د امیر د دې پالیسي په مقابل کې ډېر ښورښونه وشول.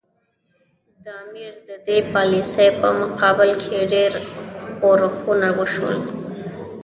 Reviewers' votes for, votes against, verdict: 2, 0, accepted